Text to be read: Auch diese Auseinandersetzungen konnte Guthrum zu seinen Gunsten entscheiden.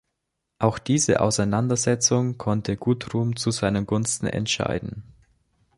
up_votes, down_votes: 2, 0